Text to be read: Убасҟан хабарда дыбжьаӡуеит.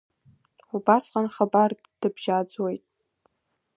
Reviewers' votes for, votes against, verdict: 2, 0, accepted